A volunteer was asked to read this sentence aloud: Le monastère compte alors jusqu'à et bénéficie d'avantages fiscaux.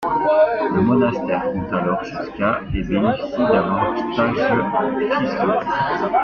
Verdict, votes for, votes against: accepted, 2, 1